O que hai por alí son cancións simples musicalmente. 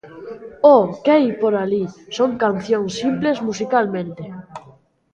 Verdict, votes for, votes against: accepted, 2, 1